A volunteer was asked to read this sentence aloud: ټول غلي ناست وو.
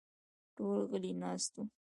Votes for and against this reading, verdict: 1, 2, rejected